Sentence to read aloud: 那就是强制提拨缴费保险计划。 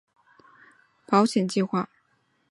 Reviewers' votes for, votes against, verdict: 0, 2, rejected